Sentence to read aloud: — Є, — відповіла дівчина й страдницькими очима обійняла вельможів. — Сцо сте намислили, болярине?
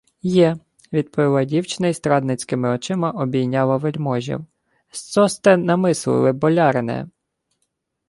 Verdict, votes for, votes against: accepted, 2, 1